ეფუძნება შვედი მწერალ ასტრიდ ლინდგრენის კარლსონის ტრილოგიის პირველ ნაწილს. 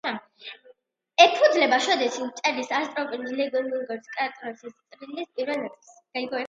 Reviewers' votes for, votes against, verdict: 0, 2, rejected